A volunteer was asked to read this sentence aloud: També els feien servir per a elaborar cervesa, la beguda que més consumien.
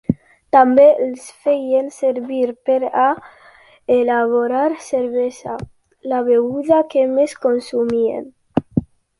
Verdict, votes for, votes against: accepted, 2, 0